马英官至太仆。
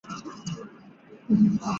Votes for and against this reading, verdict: 0, 2, rejected